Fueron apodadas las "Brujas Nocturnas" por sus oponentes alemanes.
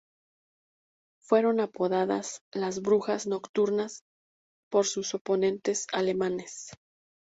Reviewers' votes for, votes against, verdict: 2, 0, accepted